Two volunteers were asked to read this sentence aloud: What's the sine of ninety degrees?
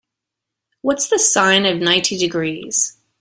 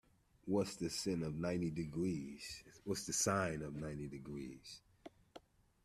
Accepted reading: first